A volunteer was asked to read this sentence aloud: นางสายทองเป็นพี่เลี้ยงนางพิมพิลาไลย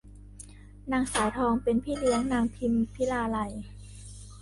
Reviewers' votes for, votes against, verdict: 1, 2, rejected